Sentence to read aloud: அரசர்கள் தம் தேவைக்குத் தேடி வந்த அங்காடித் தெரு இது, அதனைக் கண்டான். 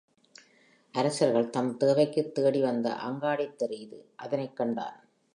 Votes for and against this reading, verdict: 4, 1, accepted